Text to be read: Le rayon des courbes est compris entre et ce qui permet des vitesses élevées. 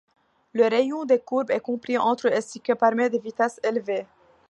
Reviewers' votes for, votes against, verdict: 2, 1, accepted